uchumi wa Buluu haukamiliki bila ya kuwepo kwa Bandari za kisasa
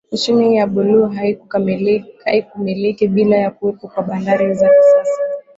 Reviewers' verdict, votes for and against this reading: rejected, 0, 2